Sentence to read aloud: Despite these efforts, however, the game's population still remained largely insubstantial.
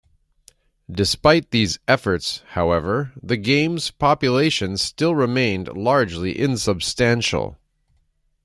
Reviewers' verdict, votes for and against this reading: accepted, 2, 1